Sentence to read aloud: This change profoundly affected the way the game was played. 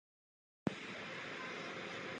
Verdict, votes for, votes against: rejected, 0, 2